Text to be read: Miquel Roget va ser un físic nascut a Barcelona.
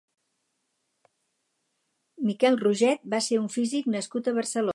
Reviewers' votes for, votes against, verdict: 2, 2, rejected